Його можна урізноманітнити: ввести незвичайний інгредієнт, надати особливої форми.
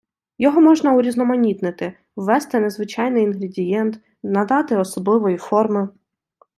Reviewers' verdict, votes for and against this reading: accepted, 2, 0